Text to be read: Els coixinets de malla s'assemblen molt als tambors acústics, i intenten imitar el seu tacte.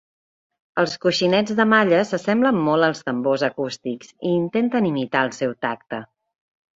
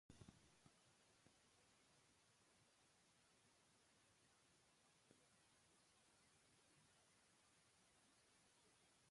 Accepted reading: first